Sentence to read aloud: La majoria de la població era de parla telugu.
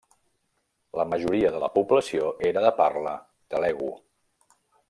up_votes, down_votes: 1, 2